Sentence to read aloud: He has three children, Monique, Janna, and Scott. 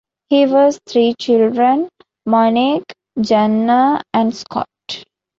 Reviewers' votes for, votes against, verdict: 1, 2, rejected